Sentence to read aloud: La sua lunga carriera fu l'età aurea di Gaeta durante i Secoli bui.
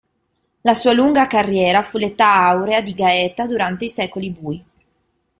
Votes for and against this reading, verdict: 2, 0, accepted